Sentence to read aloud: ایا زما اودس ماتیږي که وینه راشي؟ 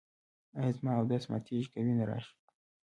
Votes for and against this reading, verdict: 2, 0, accepted